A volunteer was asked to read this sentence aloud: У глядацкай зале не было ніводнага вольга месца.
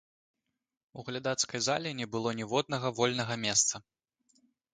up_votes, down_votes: 2, 0